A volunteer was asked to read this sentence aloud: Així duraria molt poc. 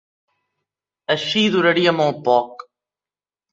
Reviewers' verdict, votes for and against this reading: accepted, 3, 0